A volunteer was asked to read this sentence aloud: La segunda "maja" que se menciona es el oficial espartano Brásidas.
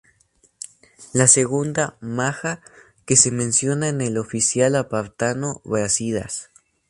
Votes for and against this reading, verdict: 0, 2, rejected